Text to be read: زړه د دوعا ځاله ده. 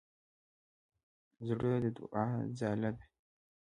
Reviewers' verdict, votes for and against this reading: rejected, 1, 2